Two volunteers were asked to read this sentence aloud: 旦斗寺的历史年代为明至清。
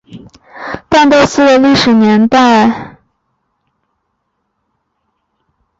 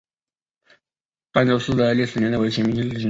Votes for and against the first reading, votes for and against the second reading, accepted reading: 0, 3, 2, 0, second